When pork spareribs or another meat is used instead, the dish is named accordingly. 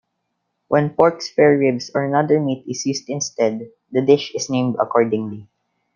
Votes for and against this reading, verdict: 2, 0, accepted